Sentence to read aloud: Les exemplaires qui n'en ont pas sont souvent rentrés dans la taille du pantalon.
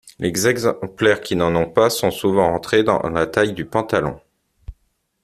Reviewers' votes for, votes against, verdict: 0, 2, rejected